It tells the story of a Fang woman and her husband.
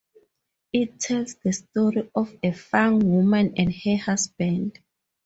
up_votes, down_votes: 2, 0